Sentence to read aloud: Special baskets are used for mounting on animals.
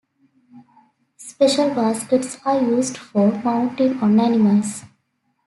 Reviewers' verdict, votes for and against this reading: accepted, 2, 0